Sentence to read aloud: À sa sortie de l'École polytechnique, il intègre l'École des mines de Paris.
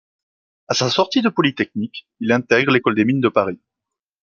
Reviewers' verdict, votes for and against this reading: rejected, 1, 2